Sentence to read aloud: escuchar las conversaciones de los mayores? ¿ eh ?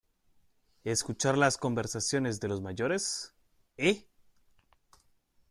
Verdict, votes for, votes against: accepted, 2, 0